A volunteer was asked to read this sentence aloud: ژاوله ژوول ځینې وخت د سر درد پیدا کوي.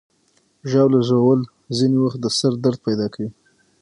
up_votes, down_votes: 3, 6